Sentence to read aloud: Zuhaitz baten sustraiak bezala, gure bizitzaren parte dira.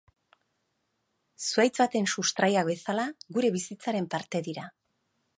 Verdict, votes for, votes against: rejected, 0, 2